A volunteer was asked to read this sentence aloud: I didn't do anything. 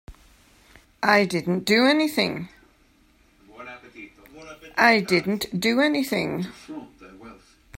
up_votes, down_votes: 1, 2